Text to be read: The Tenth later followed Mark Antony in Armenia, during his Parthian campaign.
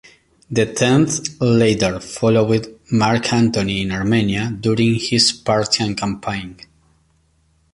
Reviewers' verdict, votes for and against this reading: accepted, 2, 1